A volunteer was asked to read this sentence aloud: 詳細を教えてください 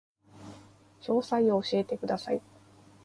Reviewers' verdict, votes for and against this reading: accepted, 2, 1